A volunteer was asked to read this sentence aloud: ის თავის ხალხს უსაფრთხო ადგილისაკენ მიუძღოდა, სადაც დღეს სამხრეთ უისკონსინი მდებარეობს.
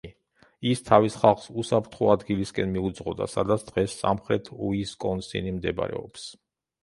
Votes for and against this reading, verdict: 0, 2, rejected